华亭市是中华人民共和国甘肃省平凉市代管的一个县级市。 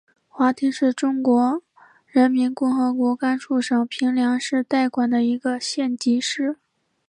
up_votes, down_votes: 2, 0